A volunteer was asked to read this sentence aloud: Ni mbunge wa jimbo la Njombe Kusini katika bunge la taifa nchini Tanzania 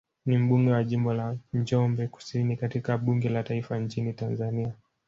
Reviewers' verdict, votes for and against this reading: rejected, 0, 2